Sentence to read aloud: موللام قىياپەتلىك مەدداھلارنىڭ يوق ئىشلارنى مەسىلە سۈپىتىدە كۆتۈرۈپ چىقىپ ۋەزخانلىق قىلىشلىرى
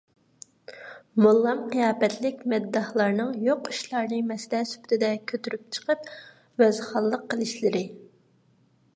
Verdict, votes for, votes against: rejected, 0, 2